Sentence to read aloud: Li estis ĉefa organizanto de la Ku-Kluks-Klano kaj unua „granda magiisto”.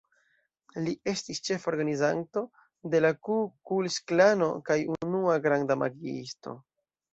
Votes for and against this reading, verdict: 2, 1, accepted